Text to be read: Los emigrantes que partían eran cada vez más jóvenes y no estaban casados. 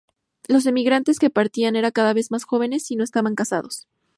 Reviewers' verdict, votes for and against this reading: accepted, 2, 0